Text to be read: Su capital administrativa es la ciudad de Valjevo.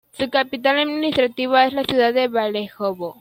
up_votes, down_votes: 0, 2